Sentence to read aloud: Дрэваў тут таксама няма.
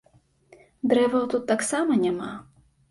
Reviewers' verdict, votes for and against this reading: accepted, 2, 0